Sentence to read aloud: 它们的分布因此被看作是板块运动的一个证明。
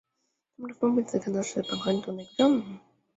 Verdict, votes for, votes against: rejected, 1, 2